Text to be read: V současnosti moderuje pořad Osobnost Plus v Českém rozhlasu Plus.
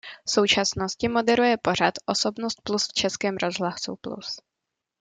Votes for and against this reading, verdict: 2, 0, accepted